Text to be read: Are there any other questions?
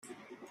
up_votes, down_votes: 0, 2